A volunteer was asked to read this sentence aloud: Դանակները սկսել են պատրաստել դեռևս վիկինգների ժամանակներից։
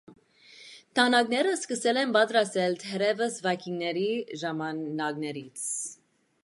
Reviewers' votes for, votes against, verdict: 1, 2, rejected